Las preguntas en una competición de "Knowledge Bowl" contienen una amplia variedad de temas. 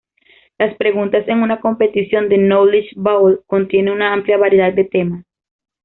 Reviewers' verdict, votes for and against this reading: rejected, 1, 2